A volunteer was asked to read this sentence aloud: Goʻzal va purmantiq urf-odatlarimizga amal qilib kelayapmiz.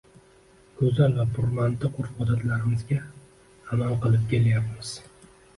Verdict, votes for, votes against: rejected, 0, 2